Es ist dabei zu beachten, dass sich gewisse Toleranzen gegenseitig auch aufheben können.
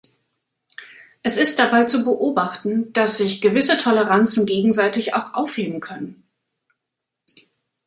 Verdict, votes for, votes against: rejected, 0, 2